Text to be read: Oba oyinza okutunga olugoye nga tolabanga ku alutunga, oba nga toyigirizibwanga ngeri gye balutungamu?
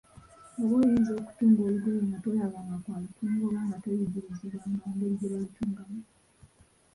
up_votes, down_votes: 3, 2